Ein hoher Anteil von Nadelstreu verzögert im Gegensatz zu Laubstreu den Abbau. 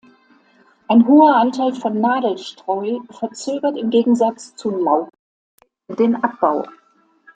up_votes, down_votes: 0, 2